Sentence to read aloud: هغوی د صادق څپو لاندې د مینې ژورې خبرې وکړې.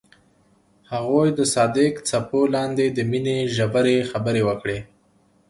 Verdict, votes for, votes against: accepted, 2, 0